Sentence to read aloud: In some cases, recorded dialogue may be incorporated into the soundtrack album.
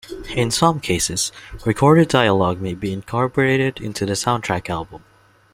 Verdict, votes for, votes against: accepted, 2, 1